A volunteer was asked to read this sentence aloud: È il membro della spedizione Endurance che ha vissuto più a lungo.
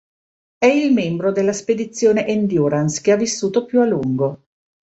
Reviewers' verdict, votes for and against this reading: accepted, 2, 0